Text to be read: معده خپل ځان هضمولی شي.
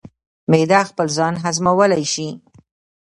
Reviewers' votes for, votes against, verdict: 2, 0, accepted